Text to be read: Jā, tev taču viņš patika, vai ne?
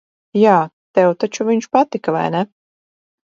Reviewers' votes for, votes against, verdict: 4, 0, accepted